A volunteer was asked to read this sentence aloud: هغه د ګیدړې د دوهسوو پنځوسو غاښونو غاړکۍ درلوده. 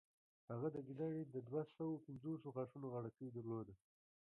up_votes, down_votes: 2, 0